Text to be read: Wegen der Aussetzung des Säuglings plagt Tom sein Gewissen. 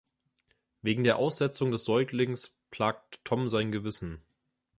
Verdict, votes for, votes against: accepted, 2, 0